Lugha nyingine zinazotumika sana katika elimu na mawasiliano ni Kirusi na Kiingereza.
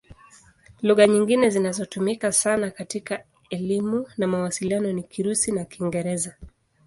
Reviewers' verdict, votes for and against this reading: accepted, 2, 0